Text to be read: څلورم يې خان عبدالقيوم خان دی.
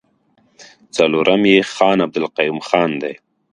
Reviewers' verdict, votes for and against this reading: accepted, 2, 0